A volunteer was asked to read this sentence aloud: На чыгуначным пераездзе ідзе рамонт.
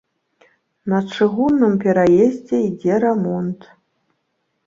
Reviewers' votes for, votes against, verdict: 0, 2, rejected